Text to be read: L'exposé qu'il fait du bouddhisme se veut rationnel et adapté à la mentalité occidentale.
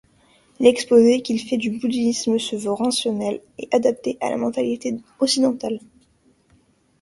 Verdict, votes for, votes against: rejected, 0, 2